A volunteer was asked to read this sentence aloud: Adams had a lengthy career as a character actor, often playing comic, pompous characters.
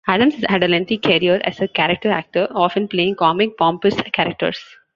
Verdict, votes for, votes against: rejected, 1, 2